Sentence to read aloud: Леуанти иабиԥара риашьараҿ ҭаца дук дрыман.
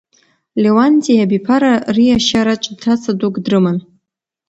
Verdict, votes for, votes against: accepted, 2, 0